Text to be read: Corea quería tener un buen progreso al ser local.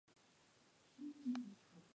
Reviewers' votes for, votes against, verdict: 0, 2, rejected